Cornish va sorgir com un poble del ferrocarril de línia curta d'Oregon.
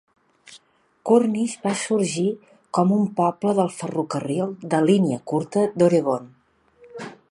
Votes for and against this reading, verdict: 2, 0, accepted